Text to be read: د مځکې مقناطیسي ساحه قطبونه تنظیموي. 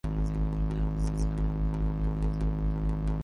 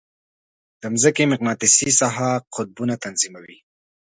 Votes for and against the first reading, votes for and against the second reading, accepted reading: 0, 2, 2, 0, second